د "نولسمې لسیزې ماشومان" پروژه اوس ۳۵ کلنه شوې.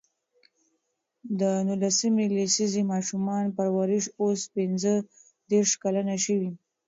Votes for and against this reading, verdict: 0, 2, rejected